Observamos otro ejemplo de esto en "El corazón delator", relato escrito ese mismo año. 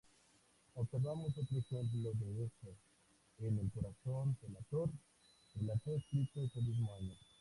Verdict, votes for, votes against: rejected, 2, 4